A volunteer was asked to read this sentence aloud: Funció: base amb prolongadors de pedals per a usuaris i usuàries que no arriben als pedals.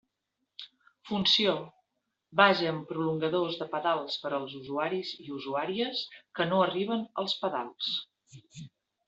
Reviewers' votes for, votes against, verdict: 0, 2, rejected